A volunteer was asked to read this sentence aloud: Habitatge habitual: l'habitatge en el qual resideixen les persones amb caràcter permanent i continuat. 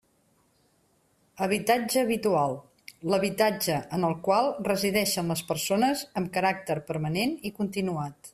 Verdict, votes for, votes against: accepted, 2, 0